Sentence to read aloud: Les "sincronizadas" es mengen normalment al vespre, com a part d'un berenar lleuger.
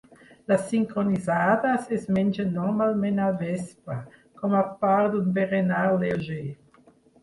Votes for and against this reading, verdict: 4, 6, rejected